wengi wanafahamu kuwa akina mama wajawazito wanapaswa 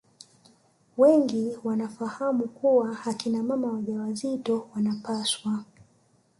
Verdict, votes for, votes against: rejected, 1, 2